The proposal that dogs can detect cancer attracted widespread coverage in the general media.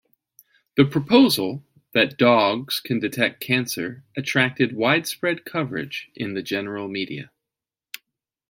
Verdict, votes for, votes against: accepted, 2, 0